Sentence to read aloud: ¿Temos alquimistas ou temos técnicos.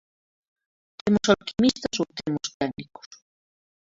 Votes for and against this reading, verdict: 0, 2, rejected